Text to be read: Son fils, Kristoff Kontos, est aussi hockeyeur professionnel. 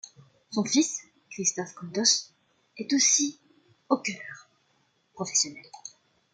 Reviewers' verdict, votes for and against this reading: rejected, 0, 2